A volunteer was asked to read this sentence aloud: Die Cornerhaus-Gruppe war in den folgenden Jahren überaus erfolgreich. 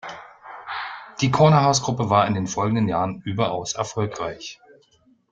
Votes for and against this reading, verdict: 2, 0, accepted